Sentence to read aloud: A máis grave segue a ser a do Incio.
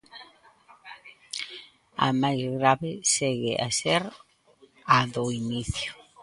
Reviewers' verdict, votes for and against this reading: rejected, 0, 2